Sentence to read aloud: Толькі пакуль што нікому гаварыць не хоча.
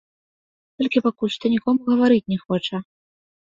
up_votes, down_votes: 1, 2